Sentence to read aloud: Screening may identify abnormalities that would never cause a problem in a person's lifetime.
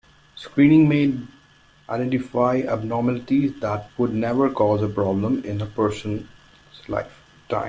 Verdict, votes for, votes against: rejected, 0, 2